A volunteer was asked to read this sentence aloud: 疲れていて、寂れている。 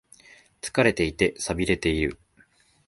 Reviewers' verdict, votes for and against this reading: accepted, 2, 0